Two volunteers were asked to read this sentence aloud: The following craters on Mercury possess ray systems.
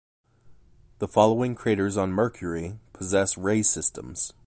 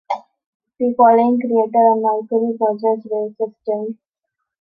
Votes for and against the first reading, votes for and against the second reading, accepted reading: 2, 0, 0, 2, first